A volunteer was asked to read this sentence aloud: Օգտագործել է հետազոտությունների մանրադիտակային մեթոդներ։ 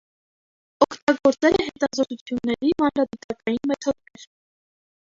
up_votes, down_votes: 1, 2